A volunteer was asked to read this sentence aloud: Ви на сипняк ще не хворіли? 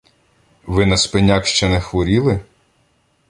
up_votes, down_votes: 0, 2